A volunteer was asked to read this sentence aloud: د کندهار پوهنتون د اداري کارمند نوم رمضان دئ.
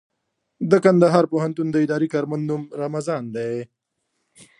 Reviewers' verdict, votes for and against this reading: accepted, 2, 0